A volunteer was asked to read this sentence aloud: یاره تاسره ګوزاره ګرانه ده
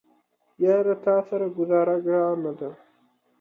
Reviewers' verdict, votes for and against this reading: accepted, 2, 0